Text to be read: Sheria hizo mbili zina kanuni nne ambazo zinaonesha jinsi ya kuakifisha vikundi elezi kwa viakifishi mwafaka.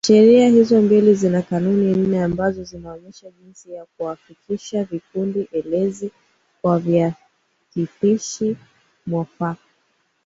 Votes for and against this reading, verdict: 1, 2, rejected